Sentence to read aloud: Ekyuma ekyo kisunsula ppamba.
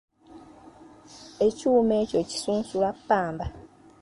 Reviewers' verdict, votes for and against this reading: accepted, 2, 1